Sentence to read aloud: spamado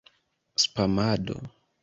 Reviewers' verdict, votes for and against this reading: accepted, 2, 0